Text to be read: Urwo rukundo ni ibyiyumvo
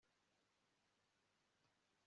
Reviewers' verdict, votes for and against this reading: accepted, 2, 0